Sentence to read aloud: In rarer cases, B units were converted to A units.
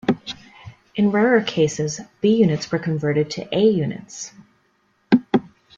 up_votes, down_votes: 2, 0